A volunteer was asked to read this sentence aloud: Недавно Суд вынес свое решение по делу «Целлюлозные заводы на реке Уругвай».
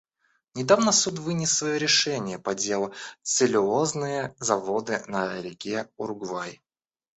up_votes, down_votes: 1, 2